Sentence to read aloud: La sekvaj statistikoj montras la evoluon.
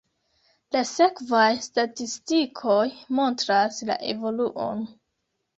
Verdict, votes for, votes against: accepted, 2, 0